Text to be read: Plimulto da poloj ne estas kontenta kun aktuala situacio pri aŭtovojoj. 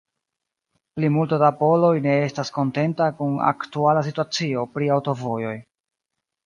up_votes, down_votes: 1, 2